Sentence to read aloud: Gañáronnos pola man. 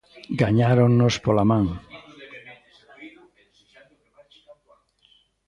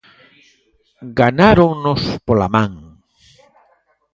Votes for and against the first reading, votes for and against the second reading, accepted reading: 2, 0, 0, 2, first